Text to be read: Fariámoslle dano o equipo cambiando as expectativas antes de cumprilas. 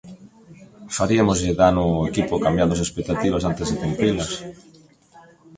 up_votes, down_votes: 1, 2